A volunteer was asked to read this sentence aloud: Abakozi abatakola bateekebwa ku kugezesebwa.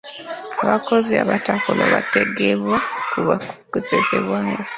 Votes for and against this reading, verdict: 1, 2, rejected